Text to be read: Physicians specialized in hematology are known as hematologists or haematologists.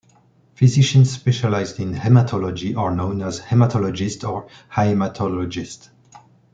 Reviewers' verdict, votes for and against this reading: rejected, 1, 2